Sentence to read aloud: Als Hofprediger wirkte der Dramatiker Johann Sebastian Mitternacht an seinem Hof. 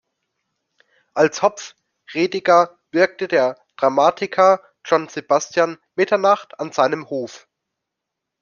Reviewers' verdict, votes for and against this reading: rejected, 0, 2